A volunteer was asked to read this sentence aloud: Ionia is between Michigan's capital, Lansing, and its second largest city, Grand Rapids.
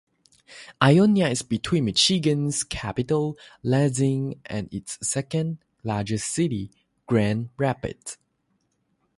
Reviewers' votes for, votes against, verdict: 0, 3, rejected